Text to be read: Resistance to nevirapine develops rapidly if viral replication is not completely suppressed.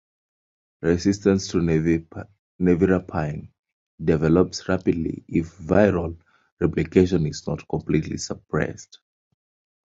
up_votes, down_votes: 0, 2